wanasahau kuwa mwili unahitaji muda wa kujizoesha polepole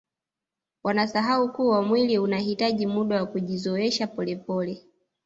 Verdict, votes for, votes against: rejected, 0, 2